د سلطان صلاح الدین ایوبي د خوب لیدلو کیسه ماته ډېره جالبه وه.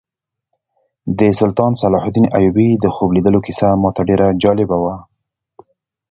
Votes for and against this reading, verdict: 1, 2, rejected